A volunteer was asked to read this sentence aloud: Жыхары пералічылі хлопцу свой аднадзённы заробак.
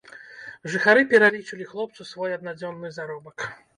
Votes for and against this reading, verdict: 0, 2, rejected